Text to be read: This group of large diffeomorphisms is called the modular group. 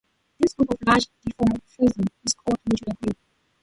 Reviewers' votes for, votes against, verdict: 0, 7, rejected